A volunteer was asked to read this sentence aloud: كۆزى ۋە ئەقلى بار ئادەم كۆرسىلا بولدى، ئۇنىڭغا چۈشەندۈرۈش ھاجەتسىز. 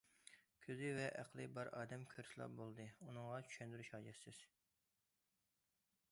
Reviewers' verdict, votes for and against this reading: accepted, 2, 0